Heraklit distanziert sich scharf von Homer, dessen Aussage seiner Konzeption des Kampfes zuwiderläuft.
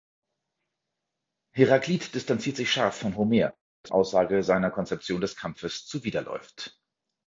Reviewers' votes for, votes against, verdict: 1, 2, rejected